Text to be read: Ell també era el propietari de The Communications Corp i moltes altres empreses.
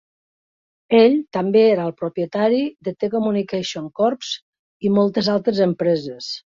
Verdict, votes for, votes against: accepted, 2, 1